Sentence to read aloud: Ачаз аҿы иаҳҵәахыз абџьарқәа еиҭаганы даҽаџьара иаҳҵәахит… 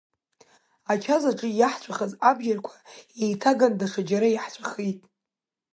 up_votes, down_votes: 3, 0